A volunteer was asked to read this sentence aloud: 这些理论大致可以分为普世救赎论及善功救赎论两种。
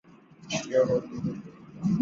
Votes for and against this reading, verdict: 2, 1, accepted